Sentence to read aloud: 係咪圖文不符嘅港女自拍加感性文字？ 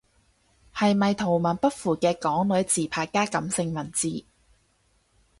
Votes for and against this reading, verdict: 2, 0, accepted